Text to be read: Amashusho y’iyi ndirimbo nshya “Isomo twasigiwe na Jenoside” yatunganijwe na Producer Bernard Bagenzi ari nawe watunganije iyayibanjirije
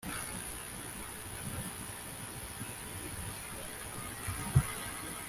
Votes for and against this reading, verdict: 0, 2, rejected